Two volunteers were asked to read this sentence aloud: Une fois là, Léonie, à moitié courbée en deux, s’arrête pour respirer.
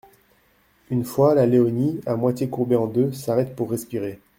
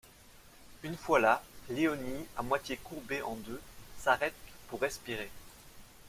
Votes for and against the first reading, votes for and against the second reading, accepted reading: 1, 2, 2, 0, second